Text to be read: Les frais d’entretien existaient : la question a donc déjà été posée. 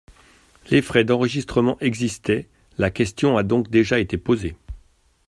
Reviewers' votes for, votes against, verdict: 0, 2, rejected